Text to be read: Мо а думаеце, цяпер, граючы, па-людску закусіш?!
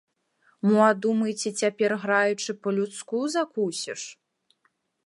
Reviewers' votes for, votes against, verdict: 2, 0, accepted